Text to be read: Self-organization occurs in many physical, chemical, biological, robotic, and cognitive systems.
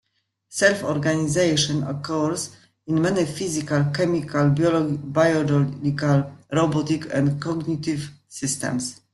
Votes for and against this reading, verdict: 2, 1, accepted